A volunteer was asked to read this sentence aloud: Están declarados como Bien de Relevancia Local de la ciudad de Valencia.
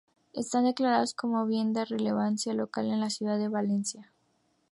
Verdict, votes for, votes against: rejected, 0, 2